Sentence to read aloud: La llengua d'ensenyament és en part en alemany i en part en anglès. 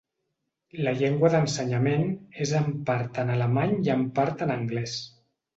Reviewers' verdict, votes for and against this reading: accepted, 2, 0